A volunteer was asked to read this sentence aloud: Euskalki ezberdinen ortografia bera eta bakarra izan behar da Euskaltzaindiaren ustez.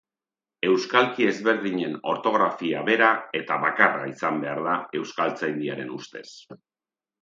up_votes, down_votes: 2, 0